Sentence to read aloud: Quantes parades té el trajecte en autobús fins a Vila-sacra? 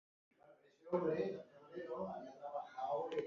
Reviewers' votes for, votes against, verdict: 0, 2, rejected